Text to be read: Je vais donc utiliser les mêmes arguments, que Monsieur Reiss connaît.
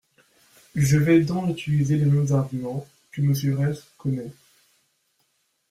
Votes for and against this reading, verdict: 1, 2, rejected